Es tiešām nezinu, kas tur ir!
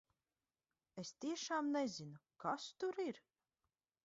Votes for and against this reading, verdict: 2, 0, accepted